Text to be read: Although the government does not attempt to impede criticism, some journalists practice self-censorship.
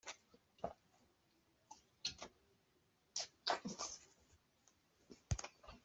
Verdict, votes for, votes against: rejected, 0, 2